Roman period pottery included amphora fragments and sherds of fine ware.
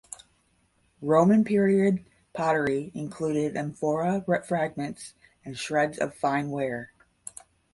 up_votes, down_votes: 5, 5